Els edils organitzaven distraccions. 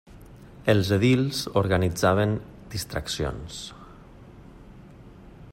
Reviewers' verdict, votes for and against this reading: accepted, 3, 0